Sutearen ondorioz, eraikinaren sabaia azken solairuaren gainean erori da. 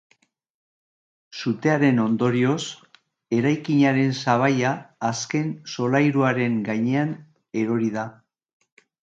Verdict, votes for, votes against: accepted, 2, 0